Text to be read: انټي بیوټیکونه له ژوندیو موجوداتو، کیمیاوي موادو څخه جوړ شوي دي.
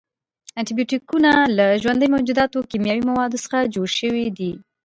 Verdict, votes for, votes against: accepted, 2, 0